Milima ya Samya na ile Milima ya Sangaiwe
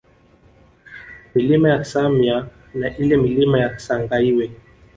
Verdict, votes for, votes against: accepted, 2, 0